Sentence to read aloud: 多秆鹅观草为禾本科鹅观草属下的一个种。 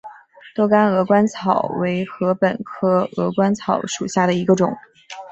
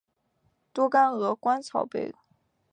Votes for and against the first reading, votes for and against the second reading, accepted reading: 2, 0, 1, 2, first